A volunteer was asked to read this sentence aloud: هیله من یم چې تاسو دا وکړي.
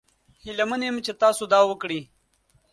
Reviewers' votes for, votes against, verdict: 2, 0, accepted